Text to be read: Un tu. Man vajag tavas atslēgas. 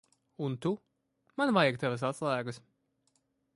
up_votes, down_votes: 2, 0